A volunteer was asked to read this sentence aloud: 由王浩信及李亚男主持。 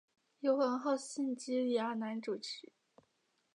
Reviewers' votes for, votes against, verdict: 3, 0, accepted